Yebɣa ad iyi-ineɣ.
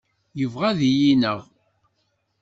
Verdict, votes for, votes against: accepted, 2, 0